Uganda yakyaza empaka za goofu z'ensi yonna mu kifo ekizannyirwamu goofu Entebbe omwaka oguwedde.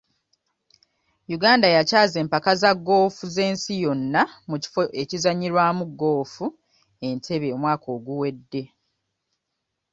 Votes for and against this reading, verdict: 2, 0, accepted